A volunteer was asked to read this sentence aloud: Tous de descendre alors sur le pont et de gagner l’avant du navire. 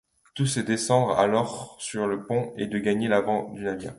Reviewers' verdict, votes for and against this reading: rejected, 0, 2